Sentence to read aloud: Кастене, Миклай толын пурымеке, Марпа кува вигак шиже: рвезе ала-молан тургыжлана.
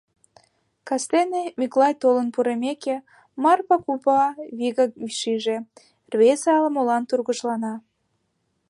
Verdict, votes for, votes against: accepted, 2, 0